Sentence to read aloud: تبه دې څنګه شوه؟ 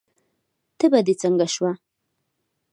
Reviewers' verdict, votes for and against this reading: accepted, 2, 0